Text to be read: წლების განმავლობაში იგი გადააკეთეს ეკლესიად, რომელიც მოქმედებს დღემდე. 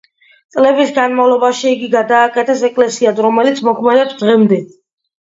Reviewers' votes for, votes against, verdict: 2, 0, accepted